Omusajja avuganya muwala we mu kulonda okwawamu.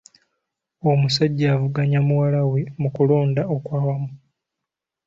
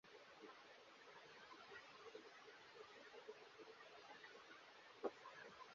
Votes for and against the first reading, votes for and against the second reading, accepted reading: 2, 0, 0, 2, first